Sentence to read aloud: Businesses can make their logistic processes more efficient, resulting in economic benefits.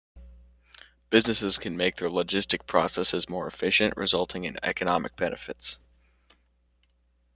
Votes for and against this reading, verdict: 2, 0, accepted